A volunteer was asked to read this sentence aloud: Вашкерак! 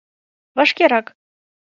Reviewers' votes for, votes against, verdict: 2, 0, accepted